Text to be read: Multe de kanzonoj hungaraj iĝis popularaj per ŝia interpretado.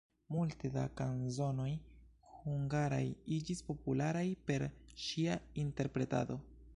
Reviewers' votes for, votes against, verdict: 0, 2, rejected